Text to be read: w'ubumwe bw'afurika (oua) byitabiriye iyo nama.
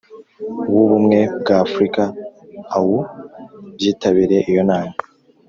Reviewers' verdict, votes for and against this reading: accepted, 2, 0